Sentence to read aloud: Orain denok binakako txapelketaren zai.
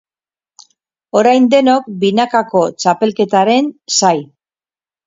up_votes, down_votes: 4, 0